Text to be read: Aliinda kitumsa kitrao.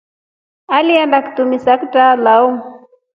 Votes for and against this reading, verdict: 2, 1, accepted